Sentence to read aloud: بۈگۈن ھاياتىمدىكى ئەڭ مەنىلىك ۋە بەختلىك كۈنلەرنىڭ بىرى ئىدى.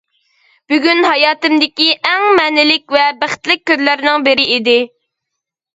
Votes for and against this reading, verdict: 2, 0, accepted